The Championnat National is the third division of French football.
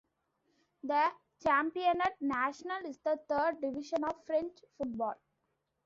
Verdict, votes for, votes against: accepted, 2, 0